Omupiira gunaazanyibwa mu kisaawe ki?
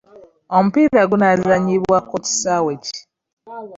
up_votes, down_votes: 0, 2